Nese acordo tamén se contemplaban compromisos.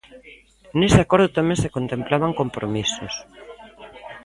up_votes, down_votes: 1, 2